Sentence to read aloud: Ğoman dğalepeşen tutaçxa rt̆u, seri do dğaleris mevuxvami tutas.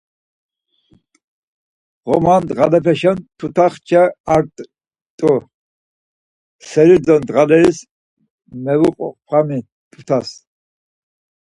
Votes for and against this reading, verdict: 2, 4, rejected